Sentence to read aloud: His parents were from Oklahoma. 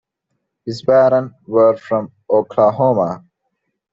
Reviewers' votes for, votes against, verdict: 2, 1, accepted